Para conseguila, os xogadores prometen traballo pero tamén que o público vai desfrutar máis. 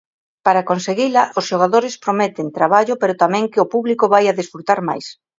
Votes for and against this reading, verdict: 1, 2, rejected